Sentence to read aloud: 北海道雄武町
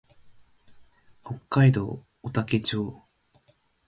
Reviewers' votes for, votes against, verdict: 2, 0, accepted